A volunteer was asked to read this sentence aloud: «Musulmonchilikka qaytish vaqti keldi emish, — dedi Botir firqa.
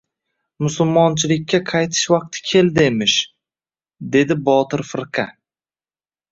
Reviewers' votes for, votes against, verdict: 2, 1, accepted